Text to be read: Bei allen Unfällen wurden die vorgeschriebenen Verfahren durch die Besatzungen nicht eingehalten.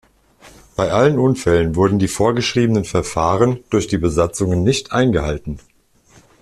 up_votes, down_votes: 2, 0